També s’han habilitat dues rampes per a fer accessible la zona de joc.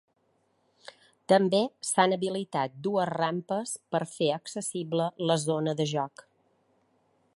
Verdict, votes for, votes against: accepted, 3, 2